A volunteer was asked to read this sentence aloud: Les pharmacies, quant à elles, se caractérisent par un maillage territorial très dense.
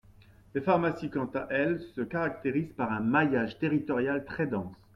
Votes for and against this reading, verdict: 2, 0, accepted